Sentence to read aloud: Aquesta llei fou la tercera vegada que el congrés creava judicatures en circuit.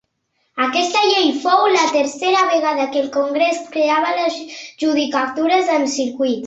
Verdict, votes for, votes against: accepted, 2, 1